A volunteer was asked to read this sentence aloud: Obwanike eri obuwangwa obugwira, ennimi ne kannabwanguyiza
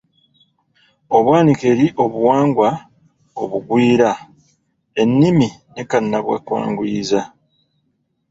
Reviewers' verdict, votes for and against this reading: accepted, 2, 1